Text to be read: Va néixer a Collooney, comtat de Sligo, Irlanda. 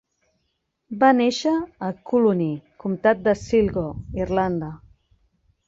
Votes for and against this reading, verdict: 2, 1, accepted